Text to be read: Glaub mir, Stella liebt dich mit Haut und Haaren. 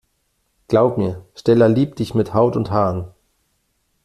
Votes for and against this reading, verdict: 2, 0, accepted